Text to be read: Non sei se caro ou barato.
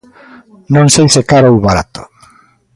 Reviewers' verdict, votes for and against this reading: accepted, 2, 0